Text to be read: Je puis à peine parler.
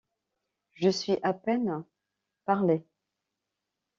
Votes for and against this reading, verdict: 1, 2, rejected